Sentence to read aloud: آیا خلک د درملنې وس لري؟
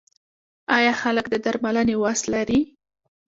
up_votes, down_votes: 1, 2